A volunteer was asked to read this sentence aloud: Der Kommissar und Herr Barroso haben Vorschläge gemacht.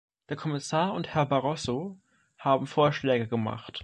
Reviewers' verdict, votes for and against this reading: rejected, 1, 2